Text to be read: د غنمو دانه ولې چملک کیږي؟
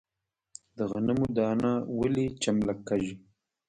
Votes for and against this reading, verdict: 1, 2, rejected